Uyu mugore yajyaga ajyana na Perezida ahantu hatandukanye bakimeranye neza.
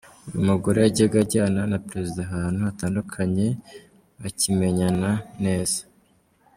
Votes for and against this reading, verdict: 1, 3, rejected